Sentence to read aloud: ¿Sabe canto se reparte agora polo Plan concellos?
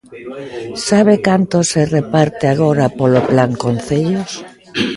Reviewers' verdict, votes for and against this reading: rejected, 0, 2